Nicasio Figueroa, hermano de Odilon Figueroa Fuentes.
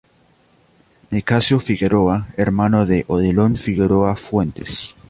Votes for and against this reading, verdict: 2, 0, accepted